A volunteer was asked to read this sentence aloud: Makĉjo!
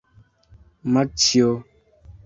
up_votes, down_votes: 0, 2